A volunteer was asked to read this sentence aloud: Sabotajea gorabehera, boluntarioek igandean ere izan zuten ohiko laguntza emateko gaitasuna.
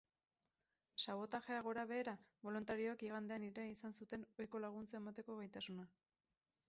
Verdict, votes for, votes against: accepted, 4, 2